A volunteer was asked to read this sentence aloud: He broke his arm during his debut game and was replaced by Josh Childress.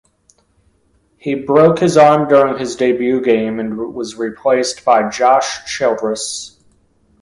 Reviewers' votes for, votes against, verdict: 1, 2, rejected